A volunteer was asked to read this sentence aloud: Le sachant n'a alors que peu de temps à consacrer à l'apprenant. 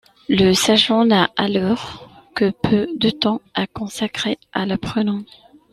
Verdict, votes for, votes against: accepted, 2, 0